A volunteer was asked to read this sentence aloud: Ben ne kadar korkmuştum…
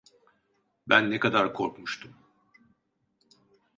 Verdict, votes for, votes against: accepted, 2, 0